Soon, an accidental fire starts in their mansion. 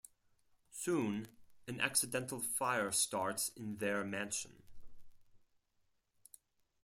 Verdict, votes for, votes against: accepted, 4, 0